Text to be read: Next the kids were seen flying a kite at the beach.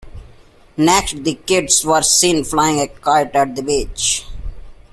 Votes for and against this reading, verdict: 2, 0, accepted